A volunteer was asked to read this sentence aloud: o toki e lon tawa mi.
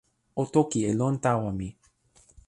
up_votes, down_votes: 2, 0